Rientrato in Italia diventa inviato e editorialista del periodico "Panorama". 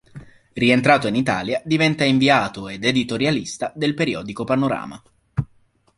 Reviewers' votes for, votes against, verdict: 0, 2, rejected